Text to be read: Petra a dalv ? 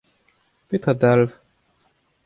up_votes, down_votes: 2, 0